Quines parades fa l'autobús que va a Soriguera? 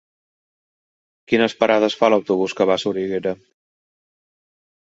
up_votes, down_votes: 3, 0